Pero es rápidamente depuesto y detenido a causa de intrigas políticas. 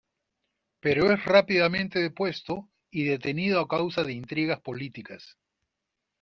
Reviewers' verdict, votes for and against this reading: accepted, 2, 0